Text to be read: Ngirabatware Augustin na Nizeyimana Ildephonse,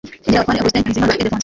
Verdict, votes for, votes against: rejected, 1, 2